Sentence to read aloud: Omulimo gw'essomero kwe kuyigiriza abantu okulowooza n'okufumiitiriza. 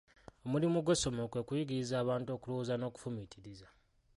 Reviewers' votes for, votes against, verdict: 0, 2, rejected